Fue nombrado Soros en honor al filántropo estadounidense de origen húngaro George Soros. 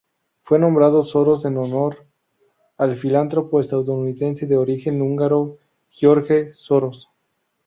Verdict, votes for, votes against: accepted, 2, 0